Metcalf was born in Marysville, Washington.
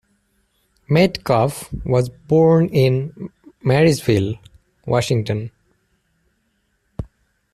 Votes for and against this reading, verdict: 2, 0, accepted